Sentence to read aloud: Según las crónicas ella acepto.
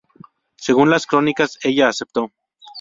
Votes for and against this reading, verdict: 4, 0, accepted